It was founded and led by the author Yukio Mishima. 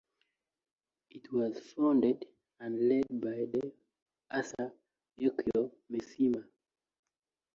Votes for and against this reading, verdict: 2, 0, accepted